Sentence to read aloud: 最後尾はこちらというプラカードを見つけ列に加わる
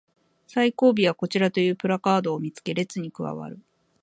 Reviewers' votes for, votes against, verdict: 3, 0, accepted